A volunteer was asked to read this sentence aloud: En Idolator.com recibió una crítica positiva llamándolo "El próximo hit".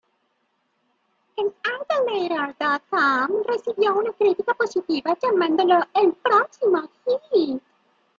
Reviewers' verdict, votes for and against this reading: rejected, 0, 2